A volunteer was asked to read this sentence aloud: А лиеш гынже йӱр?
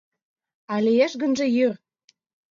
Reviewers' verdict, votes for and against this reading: accepted, 2, 0